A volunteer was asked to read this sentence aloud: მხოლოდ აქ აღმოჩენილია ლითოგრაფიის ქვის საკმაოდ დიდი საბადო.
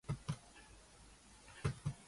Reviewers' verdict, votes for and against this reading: rejected, 0, 2